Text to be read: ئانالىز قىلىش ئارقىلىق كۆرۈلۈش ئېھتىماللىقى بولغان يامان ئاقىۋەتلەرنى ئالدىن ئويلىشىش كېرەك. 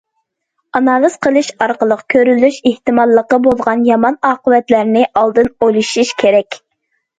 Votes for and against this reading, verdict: 2, 0, accepted